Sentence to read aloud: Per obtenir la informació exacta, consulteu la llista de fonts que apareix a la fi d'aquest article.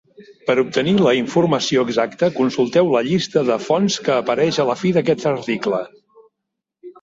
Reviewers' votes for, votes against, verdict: 1, 2, rejected